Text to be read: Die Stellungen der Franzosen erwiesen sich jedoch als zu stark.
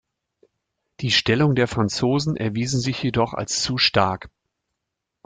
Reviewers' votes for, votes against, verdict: 1, 2, rejected